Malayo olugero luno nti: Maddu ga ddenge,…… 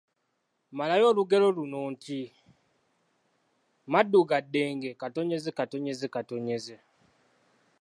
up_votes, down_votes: 2, 0